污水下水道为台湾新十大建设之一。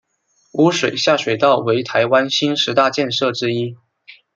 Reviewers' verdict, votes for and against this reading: accepted, 2, 0